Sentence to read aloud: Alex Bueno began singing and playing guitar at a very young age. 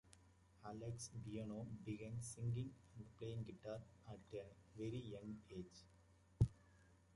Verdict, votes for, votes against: rejected, 0, 2